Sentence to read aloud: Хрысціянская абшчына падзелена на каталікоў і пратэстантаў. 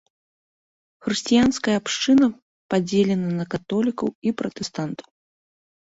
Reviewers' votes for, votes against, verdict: 0, 2, rejected